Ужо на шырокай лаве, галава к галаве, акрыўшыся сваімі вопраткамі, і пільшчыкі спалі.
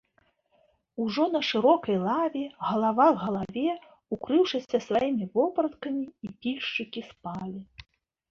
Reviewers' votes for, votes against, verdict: 1, 2, rejected